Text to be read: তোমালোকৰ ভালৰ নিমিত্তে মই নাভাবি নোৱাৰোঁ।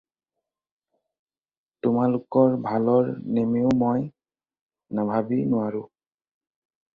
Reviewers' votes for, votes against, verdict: 2, 4, rejected